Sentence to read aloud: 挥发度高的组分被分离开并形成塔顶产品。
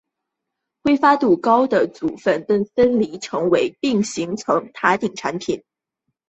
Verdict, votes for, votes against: rejected, 2, 3